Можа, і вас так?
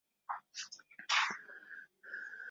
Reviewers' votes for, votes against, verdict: 0, 2, rejected